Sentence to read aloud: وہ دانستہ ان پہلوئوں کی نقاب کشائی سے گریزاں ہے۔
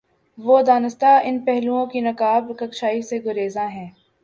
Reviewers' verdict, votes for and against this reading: accepted, 9, 1